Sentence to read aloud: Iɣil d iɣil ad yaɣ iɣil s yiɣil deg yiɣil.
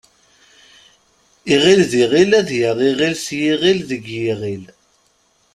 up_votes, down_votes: 2, 0